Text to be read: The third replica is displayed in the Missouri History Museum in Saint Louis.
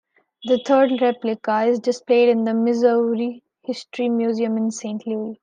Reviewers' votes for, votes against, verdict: 1, 2, rejected